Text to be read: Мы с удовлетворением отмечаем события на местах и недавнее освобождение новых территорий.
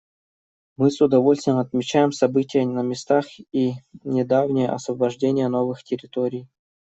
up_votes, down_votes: 1, 2